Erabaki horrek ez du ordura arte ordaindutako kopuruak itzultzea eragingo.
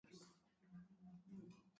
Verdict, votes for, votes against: rejected, 0, 2